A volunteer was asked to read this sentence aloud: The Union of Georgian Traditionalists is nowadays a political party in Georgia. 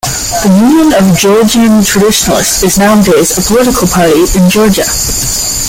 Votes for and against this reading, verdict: 1, 2, rejected